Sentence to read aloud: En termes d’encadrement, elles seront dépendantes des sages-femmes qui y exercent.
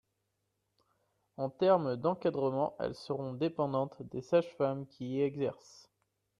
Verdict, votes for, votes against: accepted, 2, 0